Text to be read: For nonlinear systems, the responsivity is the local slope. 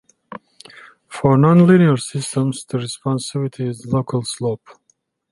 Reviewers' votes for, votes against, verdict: 0, 2, rejected